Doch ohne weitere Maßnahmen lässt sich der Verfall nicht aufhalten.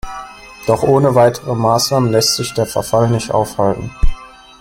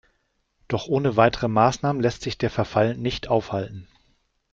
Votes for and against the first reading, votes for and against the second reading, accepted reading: 0, 2, 2, 0, second